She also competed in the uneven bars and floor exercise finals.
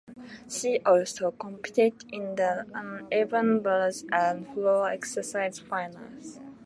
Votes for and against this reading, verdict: 2, 0, accepted